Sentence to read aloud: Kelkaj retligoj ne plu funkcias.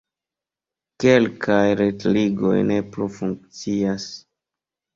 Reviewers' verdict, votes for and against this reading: accepted, 2, 0